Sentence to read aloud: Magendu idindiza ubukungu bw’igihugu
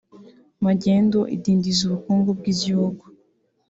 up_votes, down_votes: 4, 0